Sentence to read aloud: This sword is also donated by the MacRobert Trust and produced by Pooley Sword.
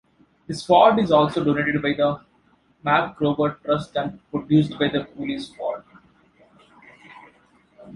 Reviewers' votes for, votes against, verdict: 0, 2, rejected